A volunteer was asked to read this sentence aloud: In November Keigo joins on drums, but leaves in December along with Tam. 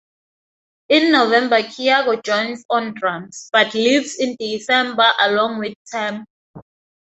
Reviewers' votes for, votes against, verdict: 0, 4, rejected